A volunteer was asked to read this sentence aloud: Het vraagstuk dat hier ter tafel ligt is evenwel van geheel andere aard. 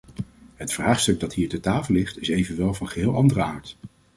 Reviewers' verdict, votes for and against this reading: accepted, 2, 0